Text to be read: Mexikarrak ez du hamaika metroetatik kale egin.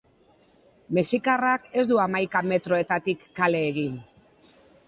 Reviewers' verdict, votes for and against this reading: accepted, 2, 0